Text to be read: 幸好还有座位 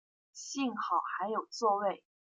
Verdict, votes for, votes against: accepted, 2, 1